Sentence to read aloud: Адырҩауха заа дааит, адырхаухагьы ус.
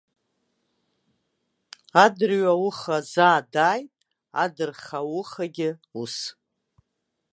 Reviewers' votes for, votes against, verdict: 2, 0, accepted